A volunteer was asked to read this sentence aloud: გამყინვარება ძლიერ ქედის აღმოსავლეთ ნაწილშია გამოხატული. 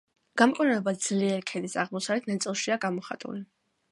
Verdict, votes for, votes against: accepted, 2, 0